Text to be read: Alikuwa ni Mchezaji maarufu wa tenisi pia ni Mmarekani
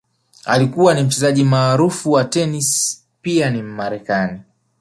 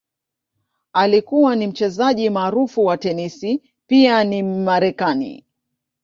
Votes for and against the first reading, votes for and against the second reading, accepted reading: 2, 0, 1, 2, first